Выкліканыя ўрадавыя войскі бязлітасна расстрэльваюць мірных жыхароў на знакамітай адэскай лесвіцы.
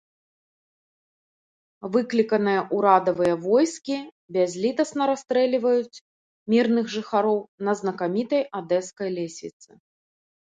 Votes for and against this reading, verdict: 1, 2, rejected